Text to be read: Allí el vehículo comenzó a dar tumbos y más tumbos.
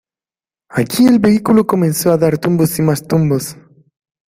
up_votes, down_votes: 2, 1